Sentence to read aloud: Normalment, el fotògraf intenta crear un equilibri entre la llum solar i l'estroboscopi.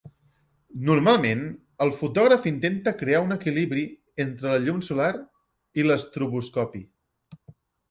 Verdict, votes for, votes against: accepted, 4, 0